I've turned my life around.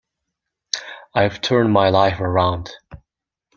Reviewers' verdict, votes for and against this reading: accepted, 2, 0